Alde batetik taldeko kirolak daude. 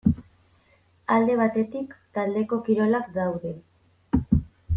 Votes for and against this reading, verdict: 2, 0, accepted